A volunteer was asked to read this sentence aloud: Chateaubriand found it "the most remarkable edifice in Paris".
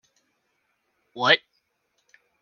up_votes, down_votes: 0, 2